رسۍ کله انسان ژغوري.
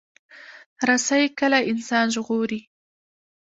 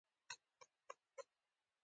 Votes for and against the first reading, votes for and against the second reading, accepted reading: 1, 2, 3, 1, second